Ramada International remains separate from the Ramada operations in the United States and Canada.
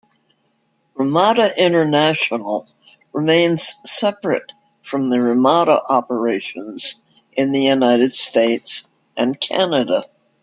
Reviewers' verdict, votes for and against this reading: accepted, 2, 0